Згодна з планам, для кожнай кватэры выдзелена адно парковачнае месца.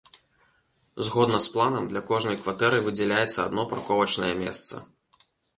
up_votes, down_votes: 0, 2